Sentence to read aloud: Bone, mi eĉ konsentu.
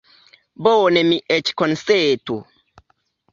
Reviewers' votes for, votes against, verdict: 2, 0, accepted